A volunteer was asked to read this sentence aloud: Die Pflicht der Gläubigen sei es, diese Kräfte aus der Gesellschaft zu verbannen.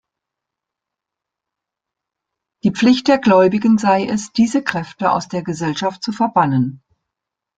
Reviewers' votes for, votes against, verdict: 2, 0, accepted